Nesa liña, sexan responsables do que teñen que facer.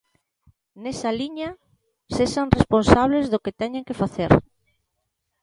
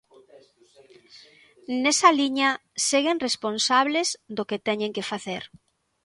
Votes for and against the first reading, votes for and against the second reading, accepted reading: 2, 0, 0, 2, first